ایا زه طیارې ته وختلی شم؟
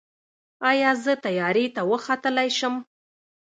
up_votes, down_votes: 1, 2